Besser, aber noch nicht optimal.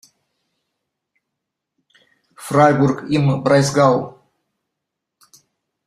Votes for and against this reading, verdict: 0, 2, rejected